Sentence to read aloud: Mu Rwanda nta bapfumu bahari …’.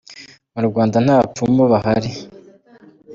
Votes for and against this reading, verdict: 2, 0, accepted